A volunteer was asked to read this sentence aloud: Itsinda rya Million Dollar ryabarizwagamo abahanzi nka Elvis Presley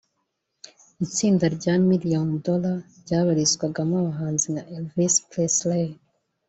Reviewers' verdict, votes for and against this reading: accepted, 2, 0